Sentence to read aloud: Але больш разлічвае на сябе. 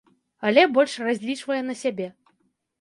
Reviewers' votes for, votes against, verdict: 2, 0, accepted